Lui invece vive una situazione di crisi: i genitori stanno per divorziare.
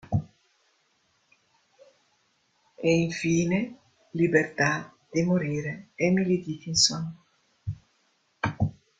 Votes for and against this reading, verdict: 0, 2, rejected